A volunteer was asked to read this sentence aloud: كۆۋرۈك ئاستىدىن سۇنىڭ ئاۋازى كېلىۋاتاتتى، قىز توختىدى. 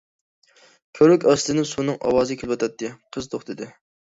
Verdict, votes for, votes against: rejected, 0, 2